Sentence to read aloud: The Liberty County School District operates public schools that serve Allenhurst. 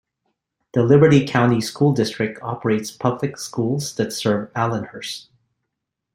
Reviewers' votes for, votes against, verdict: 2, 0, accepted